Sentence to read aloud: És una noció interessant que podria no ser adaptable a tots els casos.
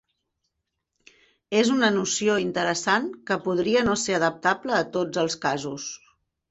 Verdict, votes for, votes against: accepted, 3, 0